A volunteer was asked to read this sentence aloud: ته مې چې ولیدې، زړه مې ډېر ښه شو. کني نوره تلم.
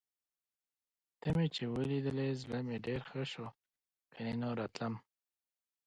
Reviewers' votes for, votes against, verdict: 2, 0, accepted